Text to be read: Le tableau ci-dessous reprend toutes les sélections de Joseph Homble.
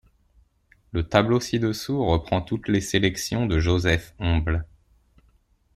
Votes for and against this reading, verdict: 2, 0, accepted